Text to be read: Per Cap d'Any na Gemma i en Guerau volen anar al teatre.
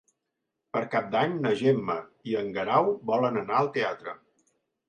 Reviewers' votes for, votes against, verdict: 3, 0, accepted